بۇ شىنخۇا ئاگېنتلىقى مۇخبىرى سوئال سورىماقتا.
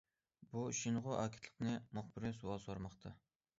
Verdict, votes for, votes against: rejected, 0, 2